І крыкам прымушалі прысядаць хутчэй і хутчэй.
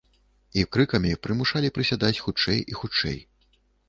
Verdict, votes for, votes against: rejected, 0, 3